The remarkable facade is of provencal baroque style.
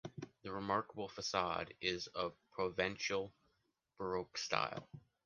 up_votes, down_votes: 1, 2